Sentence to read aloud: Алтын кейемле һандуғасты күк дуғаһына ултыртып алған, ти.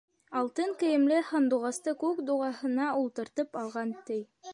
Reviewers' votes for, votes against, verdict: 2, 0, accepted